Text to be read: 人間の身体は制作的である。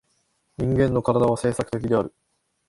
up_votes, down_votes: 4, 2